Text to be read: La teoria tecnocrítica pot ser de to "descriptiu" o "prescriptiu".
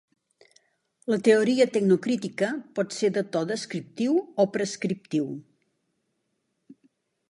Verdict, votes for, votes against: accepted, 2, 0